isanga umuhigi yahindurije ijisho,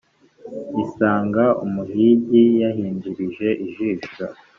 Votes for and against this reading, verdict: 2, 0, accepted